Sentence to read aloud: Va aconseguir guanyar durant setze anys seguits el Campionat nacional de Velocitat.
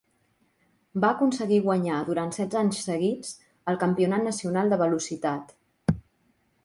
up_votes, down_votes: 2, 0